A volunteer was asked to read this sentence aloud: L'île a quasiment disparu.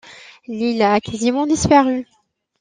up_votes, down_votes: 2, 1